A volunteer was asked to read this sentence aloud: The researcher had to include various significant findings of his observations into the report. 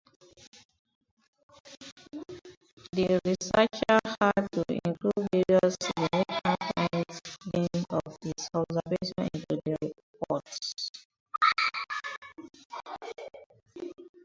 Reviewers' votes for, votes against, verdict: 15, 30, rejected